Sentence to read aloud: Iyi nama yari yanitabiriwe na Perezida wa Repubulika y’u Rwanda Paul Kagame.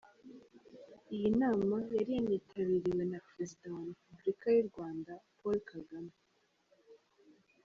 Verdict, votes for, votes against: accepted, 3, 0